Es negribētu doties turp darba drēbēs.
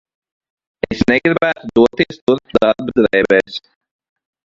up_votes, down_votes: 1, 2